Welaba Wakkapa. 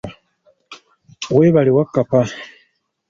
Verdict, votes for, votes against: rejected, 0, 2